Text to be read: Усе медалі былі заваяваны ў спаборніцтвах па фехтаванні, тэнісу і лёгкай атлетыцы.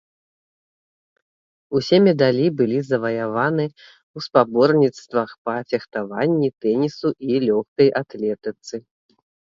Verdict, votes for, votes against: accepted, 3, 0